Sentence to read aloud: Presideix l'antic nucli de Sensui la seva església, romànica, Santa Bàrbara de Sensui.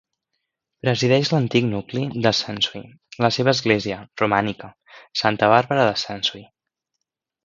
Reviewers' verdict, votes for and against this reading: accepted, 2, 0